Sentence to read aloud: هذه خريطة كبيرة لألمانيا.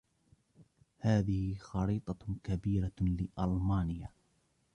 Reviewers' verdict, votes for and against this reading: rejected, 1, 2